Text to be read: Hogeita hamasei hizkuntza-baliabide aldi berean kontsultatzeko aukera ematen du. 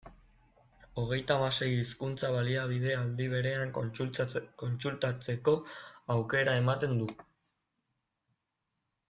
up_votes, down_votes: 0, 2